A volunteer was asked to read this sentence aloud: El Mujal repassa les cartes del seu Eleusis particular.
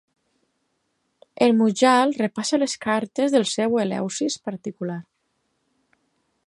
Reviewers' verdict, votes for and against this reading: accepted, 4, 0